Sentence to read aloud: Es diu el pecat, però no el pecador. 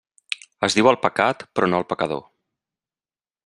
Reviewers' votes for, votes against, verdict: 3, 0, accepted